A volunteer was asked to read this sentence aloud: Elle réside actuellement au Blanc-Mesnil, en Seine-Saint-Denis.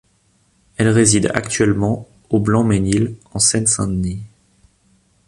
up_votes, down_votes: 2, 0